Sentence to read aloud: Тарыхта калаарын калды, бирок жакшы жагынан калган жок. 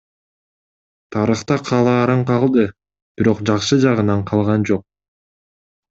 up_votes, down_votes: 2, 0